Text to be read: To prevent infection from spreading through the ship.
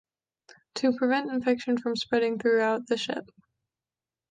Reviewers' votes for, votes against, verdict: 0, 2, rejected